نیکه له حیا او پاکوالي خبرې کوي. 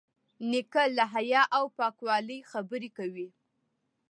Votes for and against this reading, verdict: 2, 0, accepted